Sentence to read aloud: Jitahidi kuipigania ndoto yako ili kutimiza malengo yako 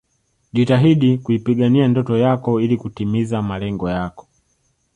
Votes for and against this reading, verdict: 2, 0, accepted